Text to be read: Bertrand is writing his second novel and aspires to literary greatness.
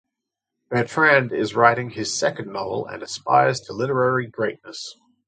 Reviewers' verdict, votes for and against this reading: accepted, 2, 0